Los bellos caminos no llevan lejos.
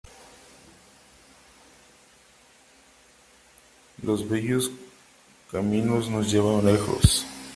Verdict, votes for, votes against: rejected, 0, 2